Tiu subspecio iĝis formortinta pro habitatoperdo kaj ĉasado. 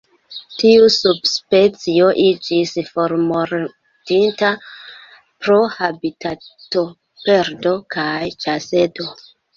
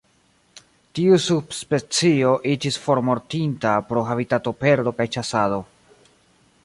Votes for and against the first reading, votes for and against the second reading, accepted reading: 1, 2, 2, 1, second